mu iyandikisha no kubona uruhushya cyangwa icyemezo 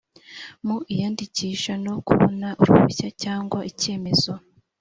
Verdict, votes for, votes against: accepted, 3, 0